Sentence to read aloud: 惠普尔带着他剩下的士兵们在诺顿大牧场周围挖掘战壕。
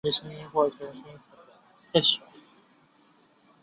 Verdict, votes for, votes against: rejected, 0, 5